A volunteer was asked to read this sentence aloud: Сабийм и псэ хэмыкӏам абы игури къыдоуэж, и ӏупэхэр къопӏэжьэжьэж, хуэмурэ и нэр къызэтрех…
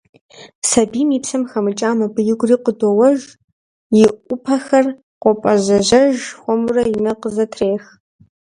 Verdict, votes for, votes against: rejected, 0, 2